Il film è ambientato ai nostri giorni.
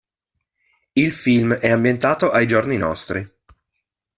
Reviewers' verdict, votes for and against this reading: rejected, 1, 2